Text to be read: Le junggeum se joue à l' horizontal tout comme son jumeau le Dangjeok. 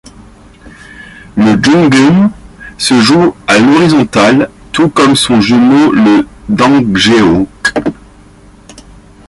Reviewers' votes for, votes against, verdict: 2, 0, accepted